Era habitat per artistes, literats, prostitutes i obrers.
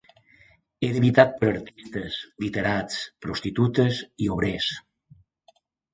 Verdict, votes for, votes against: accepted, 2, 0